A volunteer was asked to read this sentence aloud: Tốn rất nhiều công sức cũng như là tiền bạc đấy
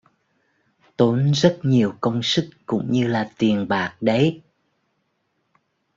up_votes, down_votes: 2, 0